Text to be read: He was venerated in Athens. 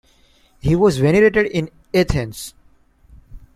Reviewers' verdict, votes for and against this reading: accepted, 2, 1